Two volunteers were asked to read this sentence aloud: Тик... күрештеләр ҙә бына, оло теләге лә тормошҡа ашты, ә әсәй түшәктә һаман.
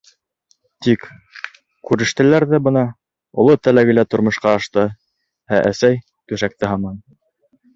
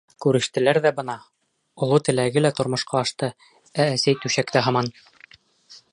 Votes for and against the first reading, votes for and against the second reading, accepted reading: 2, 0, 0, 2, first